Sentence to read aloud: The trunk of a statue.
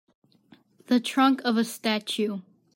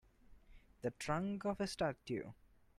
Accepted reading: first